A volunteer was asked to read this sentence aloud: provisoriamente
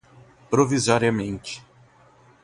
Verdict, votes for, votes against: accepted, 2, 0